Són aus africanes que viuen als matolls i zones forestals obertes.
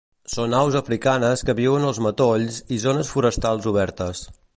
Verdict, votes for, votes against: accepted, 2, 0